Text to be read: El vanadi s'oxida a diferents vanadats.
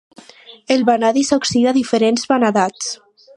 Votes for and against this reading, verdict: 4, 0, accepted